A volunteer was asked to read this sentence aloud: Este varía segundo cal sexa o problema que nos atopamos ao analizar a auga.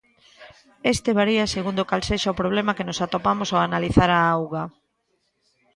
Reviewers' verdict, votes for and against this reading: accepted, 2, 1